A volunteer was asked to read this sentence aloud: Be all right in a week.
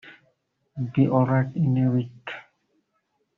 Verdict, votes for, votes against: rejected, 0, 2